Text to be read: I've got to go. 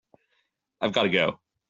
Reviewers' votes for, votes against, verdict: 0, 2, rejected